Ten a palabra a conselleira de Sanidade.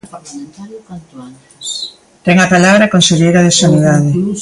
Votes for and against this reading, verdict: 1, 2, rejected